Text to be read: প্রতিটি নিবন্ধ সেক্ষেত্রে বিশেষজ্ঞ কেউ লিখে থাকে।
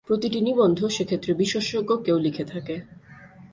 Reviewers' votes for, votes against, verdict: 0, 2, rejected